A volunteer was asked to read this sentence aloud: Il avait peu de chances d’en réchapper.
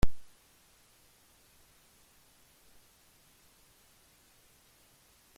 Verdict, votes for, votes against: rejected, 0, 2